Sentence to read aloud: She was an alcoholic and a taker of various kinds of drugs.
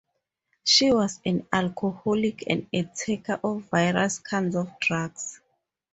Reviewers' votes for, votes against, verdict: 2, 2, rejected